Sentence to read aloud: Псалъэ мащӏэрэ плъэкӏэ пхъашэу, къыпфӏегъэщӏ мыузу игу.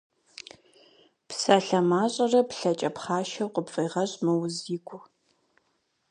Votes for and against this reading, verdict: 0, 4, rejected